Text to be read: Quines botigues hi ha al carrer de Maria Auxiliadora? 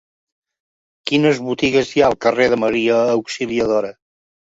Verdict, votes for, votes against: accepted, 4, 0